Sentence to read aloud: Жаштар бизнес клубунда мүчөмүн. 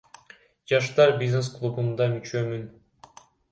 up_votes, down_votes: 0, 2